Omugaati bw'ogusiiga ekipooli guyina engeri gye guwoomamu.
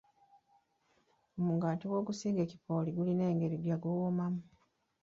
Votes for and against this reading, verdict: 0, 2, rejected